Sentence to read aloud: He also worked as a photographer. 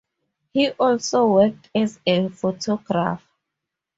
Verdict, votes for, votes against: rejected, 0, 2